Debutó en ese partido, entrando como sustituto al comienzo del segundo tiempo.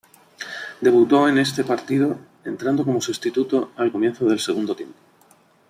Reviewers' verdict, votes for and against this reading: accepted, 2, 1